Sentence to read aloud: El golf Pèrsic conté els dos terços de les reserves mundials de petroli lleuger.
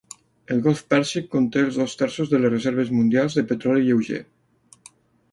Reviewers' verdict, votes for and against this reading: accepted, 2, 0